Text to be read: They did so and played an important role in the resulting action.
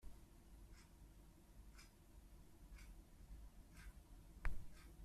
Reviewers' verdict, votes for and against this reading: rejected, 0, 2